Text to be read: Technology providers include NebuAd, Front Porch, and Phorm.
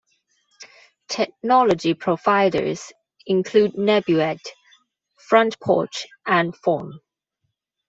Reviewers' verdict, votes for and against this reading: accepted, 2, 0